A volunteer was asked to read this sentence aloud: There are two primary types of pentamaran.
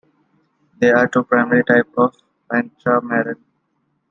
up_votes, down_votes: 1, 2